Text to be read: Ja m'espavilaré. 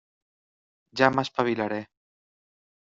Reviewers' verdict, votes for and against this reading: accepted, 3, 0